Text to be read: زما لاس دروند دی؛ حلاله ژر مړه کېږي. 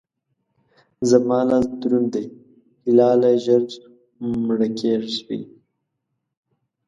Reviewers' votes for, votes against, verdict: 1, 2, rejected